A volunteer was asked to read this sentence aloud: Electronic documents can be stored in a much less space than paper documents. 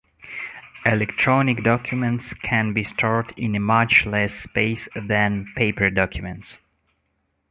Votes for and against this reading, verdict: 2, 0, accepted